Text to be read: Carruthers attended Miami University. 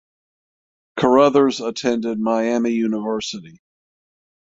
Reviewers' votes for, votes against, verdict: 6, 0, accepted